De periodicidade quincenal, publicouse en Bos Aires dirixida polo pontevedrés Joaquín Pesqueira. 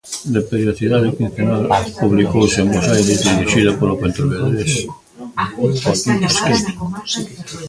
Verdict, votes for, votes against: rejected, 0, 2